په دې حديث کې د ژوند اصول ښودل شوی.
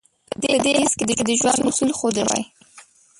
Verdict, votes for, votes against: rejected, 0, 2